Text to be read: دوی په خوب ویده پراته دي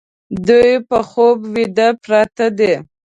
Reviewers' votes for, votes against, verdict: 2, 0, accepted